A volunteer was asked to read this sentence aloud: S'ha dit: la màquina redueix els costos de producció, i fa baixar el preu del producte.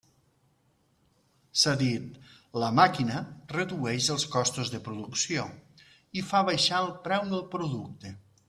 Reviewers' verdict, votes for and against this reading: accepted, 2, 0